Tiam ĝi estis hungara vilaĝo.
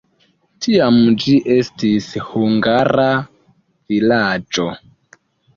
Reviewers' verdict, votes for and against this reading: accepted, 2, 1